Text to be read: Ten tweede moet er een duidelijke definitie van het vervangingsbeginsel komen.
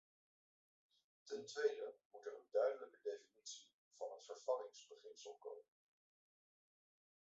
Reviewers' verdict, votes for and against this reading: rejected, 1, 2